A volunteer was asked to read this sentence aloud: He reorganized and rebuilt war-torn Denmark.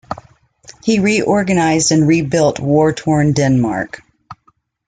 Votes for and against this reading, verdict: 2, 0, accepted